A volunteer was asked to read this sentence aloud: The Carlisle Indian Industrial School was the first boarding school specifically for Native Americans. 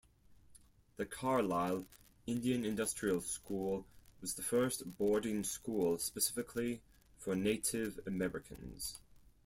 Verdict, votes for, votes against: rejected, 2, 4